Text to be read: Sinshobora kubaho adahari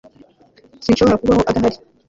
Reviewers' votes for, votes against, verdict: 3, 0, accepted